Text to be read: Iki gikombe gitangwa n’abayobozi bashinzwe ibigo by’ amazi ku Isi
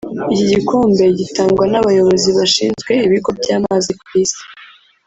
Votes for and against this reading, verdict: 0, 2, rejected